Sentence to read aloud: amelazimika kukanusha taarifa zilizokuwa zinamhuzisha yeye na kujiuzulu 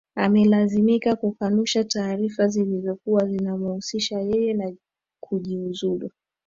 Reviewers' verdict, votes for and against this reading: accepted, 2, 1